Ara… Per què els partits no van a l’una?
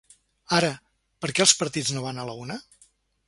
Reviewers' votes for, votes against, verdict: 0, 3, rejected